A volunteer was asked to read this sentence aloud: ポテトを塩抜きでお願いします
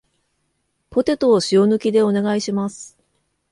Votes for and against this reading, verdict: 2, 0, accepted